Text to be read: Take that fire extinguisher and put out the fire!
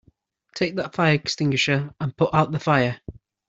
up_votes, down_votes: 2, 0